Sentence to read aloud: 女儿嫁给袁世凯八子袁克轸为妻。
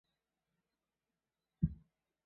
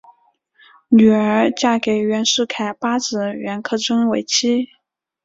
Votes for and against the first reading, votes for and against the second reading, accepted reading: 0, 3, 2, 0, second